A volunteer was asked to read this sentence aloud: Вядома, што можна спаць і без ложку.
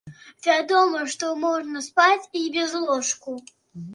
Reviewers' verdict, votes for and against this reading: rejected, 1, 2